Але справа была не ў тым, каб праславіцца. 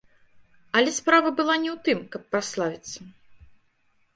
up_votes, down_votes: 2, 0